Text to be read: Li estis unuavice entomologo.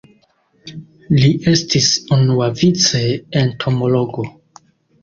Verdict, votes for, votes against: rejected, 0, 2